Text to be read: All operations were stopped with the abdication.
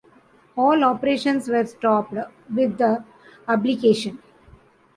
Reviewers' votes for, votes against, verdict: 1, 2, rejected